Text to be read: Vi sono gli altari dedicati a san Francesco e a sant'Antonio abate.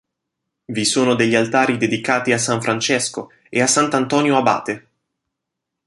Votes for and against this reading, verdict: 1, 2, rejected